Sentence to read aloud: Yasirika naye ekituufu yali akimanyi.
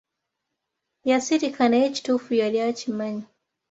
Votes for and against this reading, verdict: 2, 0, accepted